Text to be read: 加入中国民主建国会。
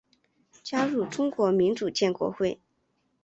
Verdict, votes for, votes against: accepted, 4, 1